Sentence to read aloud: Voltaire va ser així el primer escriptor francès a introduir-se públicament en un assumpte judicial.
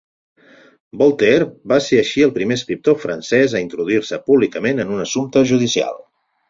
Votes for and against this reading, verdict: 8, 0, accepted